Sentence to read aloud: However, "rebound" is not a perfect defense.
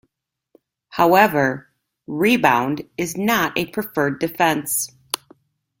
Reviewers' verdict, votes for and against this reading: rejected, 1, 2